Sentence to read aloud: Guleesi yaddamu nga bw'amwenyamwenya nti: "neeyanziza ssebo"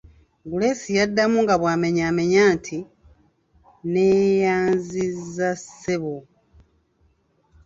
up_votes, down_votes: 3, 0